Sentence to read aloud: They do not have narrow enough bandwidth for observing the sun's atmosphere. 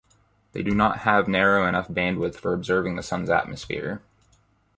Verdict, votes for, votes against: accepted, 4, 0